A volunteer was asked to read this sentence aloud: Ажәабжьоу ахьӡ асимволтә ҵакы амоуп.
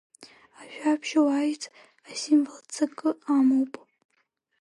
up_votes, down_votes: 4, 6